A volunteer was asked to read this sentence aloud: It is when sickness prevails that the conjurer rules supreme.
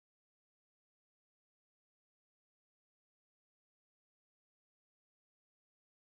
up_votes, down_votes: 0, 2